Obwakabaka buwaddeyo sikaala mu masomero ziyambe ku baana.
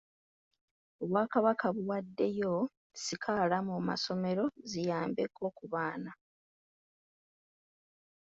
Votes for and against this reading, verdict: 1, 2, rejected